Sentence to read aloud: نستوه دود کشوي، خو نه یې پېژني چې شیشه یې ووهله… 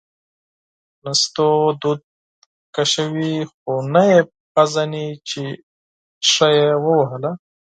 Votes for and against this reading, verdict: 2, 4, rejected